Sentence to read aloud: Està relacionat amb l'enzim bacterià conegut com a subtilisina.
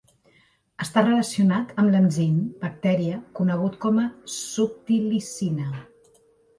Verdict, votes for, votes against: rejected, 2, 4